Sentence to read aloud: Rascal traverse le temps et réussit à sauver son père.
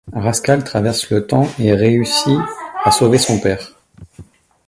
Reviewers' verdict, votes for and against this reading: accepted, 2, 0